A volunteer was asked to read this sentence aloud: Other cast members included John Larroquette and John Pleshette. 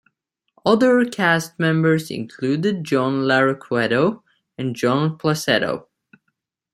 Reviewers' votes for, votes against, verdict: 0, 2, rejected